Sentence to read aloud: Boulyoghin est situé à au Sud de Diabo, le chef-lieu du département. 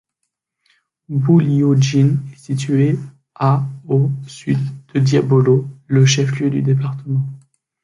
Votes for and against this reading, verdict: 1, 2, rejected